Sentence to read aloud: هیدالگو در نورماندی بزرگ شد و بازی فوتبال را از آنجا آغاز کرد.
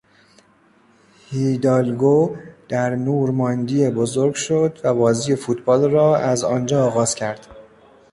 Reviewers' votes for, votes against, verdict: 1, 2, rejected